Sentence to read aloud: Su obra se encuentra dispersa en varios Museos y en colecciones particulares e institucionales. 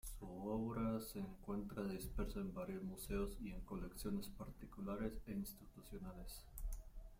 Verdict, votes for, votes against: rejected, 0, 2